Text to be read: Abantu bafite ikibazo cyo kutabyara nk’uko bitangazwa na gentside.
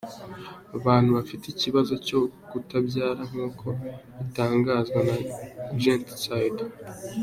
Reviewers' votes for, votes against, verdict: 2, 0, accepted